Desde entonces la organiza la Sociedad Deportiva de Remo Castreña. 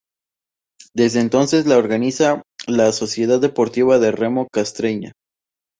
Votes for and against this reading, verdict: 2, 0, accepted